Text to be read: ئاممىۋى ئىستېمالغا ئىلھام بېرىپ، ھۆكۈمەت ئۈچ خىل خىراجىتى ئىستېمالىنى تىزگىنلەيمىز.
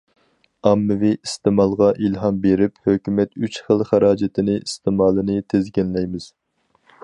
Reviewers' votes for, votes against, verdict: 0, 4, rejected